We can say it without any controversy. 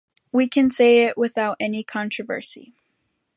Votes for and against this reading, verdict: 2, 1, accepted